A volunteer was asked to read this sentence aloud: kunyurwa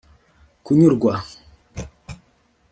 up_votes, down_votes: 2, 0